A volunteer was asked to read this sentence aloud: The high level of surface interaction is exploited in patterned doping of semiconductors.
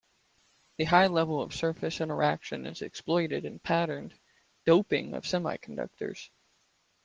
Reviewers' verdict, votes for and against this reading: accepted, 2, 0